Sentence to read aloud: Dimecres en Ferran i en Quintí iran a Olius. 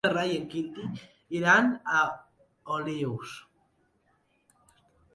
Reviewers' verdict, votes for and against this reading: rejected, 1, 2